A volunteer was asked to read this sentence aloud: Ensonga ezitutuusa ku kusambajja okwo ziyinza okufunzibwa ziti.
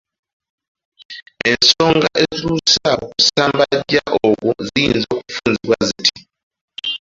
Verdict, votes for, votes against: rejected, 0, 2